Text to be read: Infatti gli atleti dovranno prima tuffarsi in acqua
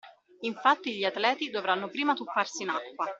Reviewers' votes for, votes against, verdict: 2, 1, accepted